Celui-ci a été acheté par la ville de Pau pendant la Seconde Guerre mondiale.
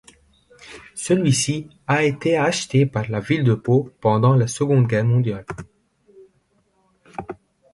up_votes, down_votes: 2, 1